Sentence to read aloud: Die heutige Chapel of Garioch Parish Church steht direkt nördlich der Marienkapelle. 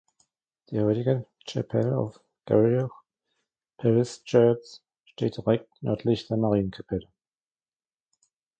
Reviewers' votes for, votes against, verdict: 0, 2, rejected